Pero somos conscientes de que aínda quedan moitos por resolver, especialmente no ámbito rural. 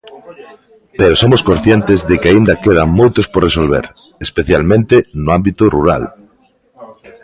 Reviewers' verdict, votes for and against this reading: accepted, 2, 0